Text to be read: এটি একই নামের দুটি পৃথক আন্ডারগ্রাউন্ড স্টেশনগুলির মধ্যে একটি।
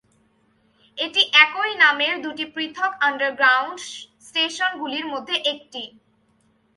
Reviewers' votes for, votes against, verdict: 2, 0, accepted